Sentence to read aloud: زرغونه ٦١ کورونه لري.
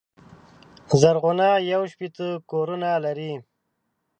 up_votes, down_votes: 0, 2